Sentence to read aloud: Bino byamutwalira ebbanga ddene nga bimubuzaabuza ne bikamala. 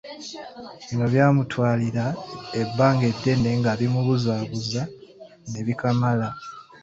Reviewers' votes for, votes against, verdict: 2, 0, accepted